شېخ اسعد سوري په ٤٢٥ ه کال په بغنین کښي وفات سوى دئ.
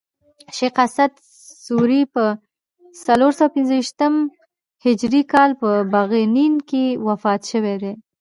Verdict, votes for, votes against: rejected, 0, 2